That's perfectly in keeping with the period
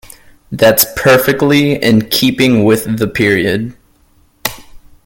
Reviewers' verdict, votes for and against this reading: accepted, 2, 0